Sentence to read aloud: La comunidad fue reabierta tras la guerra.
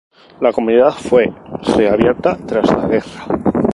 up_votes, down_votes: 0, 2